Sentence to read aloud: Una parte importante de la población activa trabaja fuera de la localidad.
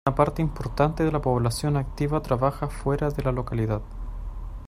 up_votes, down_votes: 0, 2